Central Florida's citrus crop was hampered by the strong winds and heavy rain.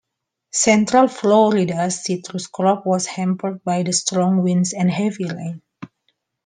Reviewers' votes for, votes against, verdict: 2, 1, accepted